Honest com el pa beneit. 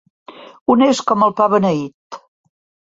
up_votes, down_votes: 2, 0